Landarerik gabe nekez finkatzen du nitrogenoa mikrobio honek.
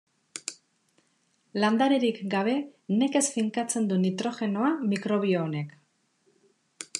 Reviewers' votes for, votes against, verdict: 2, 0, accepted